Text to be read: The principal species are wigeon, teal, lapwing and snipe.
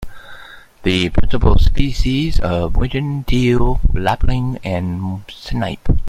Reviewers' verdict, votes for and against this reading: rejected, 1, 3